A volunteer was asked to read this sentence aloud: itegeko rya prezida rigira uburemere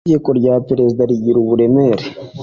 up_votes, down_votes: 3, 0